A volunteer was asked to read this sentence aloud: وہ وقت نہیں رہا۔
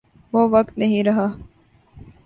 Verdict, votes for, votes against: accepted, 2, 0